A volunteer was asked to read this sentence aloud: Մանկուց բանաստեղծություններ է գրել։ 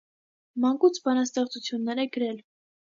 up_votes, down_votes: 2, 0